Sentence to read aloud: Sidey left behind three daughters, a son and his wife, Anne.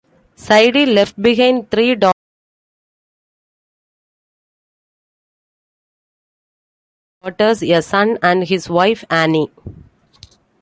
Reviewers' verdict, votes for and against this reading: rejected, 1, 2